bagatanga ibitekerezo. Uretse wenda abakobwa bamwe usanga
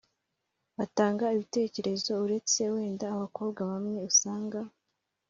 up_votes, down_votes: 2, 1